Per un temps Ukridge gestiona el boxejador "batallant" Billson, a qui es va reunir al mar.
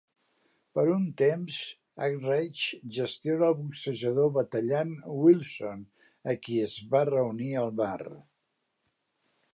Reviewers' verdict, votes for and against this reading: rejected, 0, 2